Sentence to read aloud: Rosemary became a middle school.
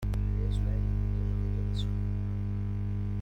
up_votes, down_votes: 0, 2